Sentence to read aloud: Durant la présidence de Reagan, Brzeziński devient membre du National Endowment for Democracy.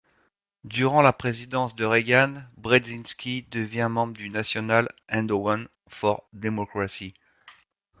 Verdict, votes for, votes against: rejected, 0, 2